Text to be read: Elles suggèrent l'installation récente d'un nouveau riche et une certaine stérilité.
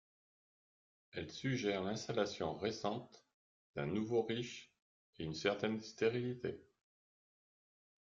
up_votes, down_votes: 1, 2